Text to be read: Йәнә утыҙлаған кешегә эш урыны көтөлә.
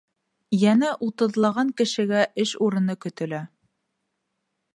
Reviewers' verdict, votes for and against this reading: accepted, 2, 0